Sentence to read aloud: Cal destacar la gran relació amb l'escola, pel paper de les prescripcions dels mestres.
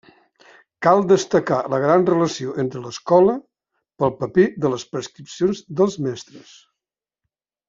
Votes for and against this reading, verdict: 1, 2, rejected